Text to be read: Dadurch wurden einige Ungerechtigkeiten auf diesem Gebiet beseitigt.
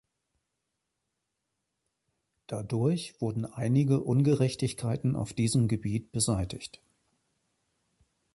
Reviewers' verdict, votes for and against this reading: accepted, 2, 0